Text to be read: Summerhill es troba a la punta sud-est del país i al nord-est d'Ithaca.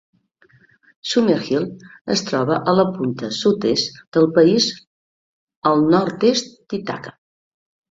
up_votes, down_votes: 1, 2